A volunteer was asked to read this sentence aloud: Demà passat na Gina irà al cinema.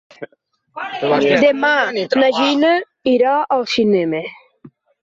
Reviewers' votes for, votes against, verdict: 0, 2, rejected